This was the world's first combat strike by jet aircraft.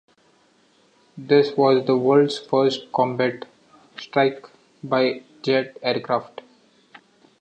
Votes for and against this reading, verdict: 2, 0, accepted